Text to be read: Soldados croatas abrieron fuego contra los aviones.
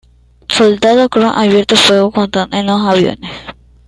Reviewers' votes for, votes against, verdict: 0, 2, rejected